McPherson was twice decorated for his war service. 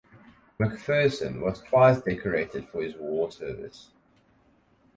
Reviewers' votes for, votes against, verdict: 4, 0, accepted